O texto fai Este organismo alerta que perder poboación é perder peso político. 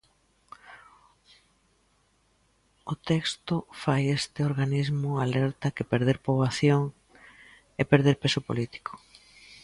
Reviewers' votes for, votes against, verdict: 2, 0, accepted